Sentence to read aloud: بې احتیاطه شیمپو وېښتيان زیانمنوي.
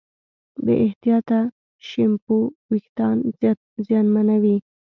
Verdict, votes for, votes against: accepted, 2, 0